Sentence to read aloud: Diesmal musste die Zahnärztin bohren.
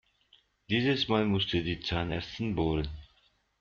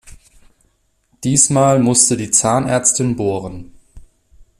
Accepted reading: second